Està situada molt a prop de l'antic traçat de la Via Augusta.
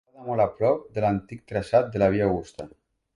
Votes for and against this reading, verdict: 1, 3, rejected